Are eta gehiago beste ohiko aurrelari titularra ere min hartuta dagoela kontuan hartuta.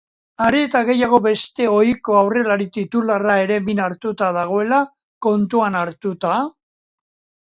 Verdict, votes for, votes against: accepted, 3, 0